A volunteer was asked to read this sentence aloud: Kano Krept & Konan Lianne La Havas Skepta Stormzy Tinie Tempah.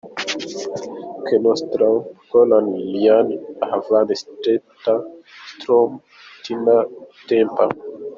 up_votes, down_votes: 1, 4